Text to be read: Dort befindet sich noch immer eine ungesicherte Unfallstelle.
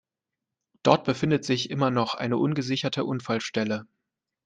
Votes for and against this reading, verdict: 0, 2, rejected